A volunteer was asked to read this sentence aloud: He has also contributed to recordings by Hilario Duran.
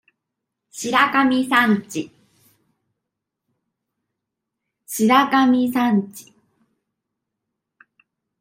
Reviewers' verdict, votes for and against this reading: rejected, 0, 2